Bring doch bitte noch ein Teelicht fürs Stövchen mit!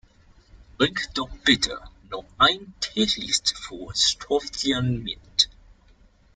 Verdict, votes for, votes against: rejected, 1, 2